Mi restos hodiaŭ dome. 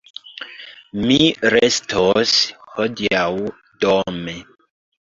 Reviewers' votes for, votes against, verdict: 3, 1, accepted